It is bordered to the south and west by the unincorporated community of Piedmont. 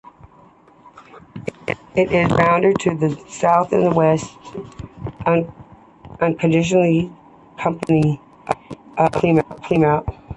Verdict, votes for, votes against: rejected, 0, 2